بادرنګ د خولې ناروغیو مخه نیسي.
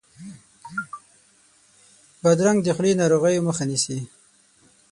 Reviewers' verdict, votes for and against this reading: rejected, 6, 9